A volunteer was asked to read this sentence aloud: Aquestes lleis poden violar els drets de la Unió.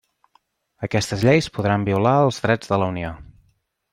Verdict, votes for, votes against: rejected, 1, 2